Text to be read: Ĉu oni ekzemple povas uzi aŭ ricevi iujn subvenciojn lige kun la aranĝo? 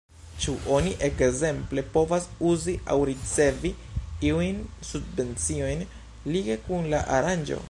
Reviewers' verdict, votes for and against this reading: rejected, 0, 2